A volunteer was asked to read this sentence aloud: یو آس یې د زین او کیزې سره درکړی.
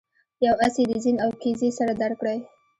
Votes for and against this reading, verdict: 2, 0, accepted